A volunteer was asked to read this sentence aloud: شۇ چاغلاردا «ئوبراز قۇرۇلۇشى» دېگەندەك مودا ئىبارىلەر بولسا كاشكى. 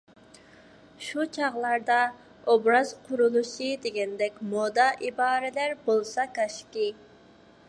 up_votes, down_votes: 2, 0